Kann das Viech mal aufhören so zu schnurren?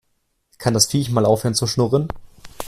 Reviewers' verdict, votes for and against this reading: rejected, 1, 2